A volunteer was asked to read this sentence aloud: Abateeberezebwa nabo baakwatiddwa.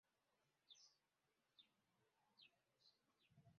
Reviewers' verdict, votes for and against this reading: rejected, 0, 2